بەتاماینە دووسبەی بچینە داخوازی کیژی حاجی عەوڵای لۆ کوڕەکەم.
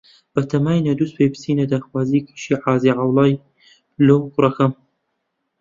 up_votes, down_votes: 1, 2